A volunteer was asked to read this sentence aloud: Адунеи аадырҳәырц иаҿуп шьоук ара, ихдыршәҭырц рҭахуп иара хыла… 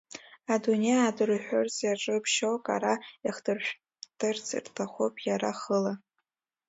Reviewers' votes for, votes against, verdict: 1, 2, rejected